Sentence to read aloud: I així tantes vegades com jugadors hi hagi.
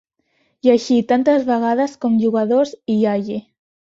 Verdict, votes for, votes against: accepted, 3, 1